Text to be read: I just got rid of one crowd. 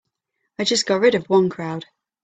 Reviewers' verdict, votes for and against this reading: accepted, 3, 0